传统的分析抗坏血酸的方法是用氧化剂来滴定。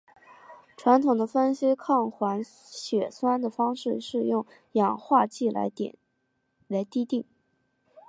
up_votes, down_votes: 2, 3